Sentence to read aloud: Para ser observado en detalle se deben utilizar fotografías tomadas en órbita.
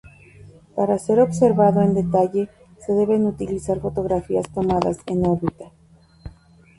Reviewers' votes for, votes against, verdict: 2, 2, rejected